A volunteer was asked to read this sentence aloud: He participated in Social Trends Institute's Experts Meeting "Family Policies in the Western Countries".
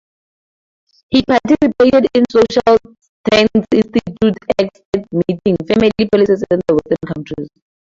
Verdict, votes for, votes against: rejected, 0, 4